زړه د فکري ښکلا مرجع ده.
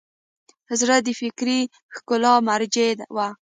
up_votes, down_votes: 2, 0